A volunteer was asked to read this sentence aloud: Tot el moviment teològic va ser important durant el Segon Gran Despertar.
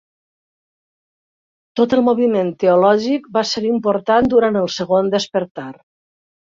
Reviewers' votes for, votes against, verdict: 1, 2, rejected